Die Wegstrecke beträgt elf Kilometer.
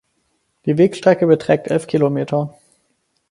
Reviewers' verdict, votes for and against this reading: accepted, 4, 0